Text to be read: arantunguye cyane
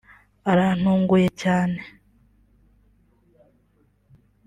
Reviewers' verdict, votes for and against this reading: accepted, 2, 0